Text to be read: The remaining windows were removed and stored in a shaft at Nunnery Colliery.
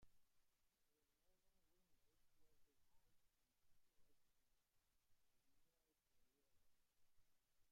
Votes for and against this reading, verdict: 0, 2, rejected